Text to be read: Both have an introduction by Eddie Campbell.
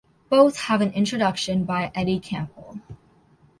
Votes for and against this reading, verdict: 2, 0, accepted